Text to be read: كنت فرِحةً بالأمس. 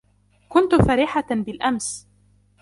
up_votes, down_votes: 2, 0